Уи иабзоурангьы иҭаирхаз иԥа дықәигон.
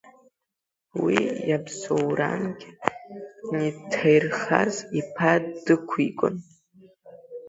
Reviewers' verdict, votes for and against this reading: rejected, 0, 2